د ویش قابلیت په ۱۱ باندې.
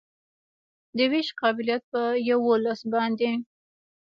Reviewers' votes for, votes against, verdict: 0, 2, rejected